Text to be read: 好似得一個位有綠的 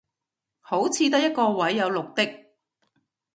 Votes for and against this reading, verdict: 2, 0, accepted